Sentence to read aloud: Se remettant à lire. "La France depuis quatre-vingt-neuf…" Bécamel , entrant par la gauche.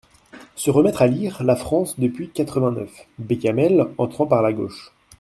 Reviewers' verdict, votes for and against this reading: rejected, 0, 2